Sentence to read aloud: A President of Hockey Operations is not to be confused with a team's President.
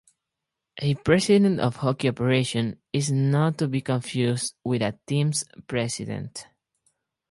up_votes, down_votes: 0, 2